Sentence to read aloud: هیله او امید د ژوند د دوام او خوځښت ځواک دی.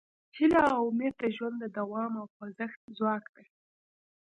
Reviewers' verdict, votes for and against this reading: accepted, 2, 0